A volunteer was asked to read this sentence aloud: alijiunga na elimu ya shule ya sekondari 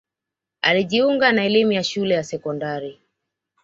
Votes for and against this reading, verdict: 2, 0, accepted